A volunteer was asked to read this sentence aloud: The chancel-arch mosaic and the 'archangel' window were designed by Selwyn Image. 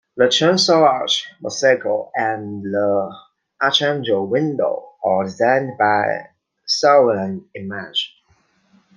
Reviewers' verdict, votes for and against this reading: rejected, 0, 2